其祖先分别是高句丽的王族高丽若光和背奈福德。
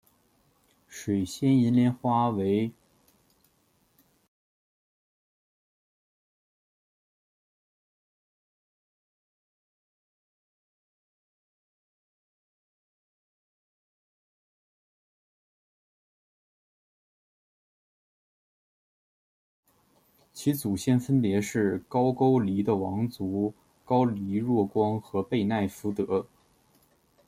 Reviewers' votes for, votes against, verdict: 0, 2, rejected